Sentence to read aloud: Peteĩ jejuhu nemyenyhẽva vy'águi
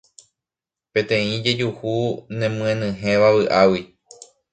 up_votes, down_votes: 2, 0